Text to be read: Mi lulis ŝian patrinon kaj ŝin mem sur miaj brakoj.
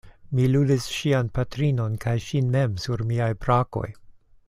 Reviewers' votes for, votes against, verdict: 2, 0, accepted